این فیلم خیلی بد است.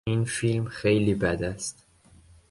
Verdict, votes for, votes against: accepted, 2, 0